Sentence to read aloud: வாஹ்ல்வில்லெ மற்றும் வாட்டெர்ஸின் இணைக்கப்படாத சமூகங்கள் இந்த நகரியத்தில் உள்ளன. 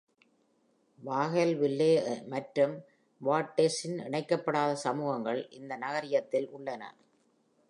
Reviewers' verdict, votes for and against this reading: accepted, 2, 0